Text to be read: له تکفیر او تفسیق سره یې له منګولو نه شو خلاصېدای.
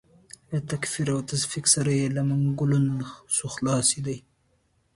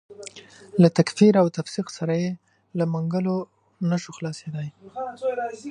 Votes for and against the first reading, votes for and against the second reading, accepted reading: 2, 1, 0, 2, first